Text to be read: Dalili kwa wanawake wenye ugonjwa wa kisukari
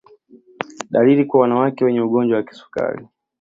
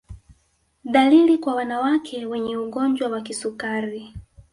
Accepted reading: first